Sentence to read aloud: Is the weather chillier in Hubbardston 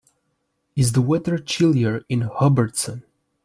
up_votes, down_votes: 1, 2